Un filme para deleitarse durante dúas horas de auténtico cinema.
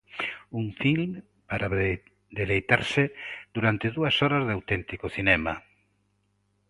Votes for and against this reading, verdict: 0, 2, rejected